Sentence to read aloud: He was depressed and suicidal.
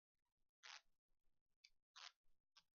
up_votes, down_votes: 0, 2